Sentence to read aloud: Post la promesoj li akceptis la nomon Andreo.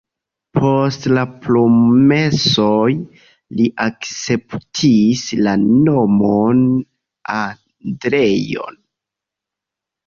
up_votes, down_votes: 2, 0